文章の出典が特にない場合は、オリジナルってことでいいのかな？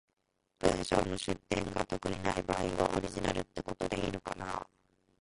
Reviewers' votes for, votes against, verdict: 1, 2, rejected